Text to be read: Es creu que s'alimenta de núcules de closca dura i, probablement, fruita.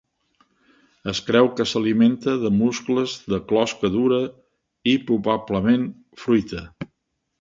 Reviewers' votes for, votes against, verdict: 1, 2, rejected